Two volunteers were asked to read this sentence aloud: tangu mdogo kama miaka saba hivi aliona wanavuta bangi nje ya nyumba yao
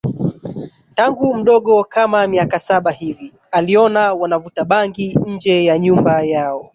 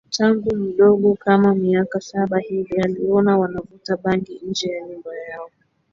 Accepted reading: second